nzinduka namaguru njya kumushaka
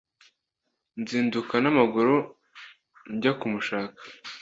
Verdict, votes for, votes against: accepted, 2, 0